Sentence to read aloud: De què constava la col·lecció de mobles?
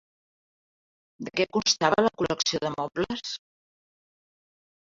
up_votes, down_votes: 0, 2